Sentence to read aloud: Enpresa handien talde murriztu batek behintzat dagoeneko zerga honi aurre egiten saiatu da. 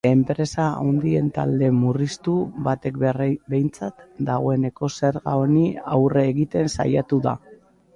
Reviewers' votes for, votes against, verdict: 1, 3, rejected